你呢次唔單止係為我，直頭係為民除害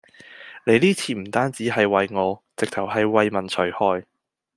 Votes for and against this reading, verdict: 2, 0, accepted